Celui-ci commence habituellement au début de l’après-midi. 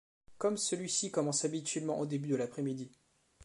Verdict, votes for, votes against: rejected, 0, 3